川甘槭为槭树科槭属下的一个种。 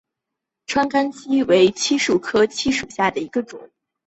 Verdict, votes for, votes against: accepted, 7, 0